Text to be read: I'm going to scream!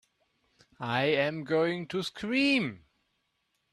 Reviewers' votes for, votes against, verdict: 1, 2, rejected